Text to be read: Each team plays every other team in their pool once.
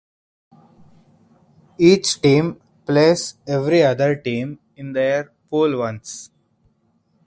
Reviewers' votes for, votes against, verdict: 4, 0, accepted